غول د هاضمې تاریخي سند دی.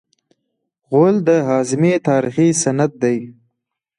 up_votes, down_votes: 2, 0